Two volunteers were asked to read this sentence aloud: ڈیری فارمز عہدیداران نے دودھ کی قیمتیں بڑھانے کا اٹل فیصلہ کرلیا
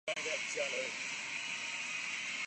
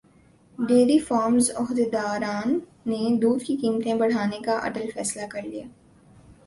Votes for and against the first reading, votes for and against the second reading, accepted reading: 0, 2, 2, 0, second